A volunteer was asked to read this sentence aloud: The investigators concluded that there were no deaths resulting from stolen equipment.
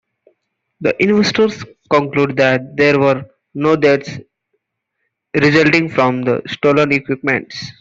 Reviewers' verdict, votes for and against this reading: rejected, 0, 2